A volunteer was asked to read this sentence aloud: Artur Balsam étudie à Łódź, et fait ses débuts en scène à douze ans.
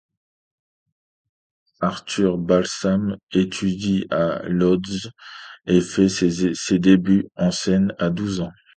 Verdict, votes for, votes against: rejected, 1, 2